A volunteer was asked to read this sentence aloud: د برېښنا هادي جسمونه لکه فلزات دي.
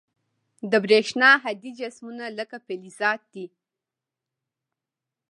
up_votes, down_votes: 2, 0